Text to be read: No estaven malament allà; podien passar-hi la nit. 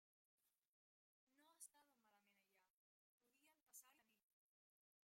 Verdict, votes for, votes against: rejected, 0, 2